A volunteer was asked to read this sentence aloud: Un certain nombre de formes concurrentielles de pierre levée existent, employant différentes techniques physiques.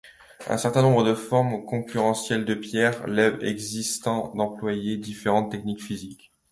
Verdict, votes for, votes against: rejected, 0, 2